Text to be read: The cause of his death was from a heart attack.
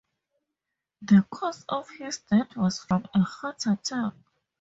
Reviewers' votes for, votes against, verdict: 0, 4, rejected